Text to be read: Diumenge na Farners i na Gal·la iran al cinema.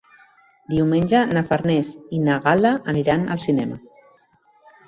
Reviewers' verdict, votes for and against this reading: rejected, 1, 2